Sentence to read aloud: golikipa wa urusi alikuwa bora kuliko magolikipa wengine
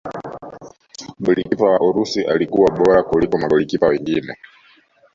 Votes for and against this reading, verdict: 1, 2, rejected